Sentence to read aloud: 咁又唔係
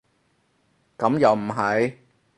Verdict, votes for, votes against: rejected, 0, 2